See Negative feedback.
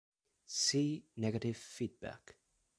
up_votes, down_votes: 2, 0